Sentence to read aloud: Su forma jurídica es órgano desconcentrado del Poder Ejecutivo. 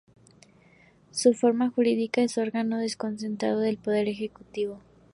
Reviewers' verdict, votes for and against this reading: accepted, 2, 0